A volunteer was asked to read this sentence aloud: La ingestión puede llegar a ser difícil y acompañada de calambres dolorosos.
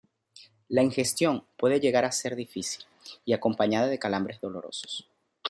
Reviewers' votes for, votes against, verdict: 2, 0, accepted